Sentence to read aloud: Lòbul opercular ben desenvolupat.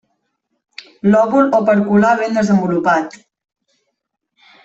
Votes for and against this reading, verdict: 1, 2, rejected